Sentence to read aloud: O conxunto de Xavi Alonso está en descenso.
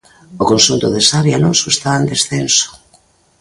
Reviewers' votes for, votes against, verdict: 4, 0, accepted